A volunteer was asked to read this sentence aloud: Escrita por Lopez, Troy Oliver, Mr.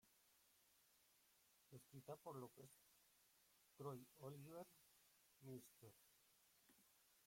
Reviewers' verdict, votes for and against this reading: rejected, 2, 4